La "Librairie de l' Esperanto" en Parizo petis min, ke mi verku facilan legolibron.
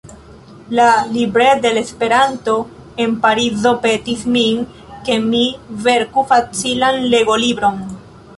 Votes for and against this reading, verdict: 1, 2, rejected